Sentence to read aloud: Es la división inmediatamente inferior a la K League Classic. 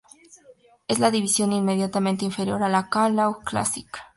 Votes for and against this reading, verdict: 0, 2, rejected